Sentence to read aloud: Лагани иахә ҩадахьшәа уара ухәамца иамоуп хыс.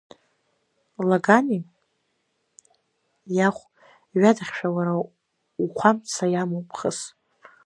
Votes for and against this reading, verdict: 2, 1, accepted